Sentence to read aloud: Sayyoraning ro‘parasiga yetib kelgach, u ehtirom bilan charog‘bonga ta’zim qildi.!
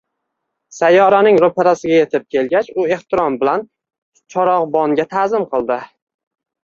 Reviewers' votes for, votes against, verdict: 2, 1, accepted